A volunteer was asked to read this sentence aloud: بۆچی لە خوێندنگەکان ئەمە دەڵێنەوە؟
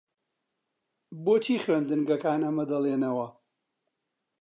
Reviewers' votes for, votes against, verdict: 2, 0, accepted